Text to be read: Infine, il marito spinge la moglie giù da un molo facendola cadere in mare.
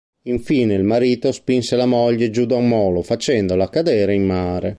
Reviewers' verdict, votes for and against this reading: rejected, 0, 2